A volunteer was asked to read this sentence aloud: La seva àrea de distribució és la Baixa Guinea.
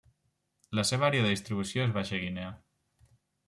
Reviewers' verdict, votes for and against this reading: rejected, 1, 2